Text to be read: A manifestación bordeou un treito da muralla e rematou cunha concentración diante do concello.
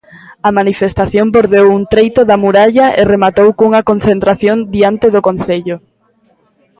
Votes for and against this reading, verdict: 2, 0, accepted